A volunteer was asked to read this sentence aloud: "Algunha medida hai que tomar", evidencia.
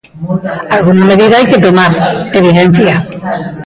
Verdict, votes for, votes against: rejected, 0, 2